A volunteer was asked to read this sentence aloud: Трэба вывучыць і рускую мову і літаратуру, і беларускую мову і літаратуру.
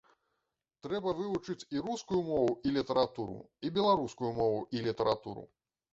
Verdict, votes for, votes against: accepted, 2, 0